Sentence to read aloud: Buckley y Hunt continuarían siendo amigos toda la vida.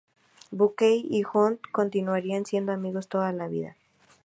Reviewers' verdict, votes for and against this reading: rejected, 0, 2